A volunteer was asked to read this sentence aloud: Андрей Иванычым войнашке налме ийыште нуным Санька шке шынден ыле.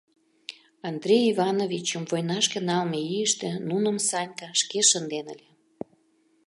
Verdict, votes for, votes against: rejected, 0, 2